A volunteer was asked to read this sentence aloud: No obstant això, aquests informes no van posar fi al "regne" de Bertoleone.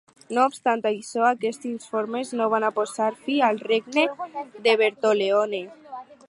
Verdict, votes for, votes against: rejected, 2, 4